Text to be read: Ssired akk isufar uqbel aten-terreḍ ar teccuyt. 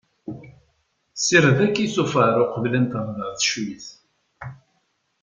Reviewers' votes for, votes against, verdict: 2, 0, accepted